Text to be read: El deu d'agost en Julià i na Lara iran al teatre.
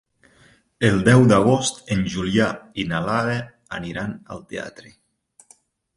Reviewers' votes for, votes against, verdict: 1, 2, rejected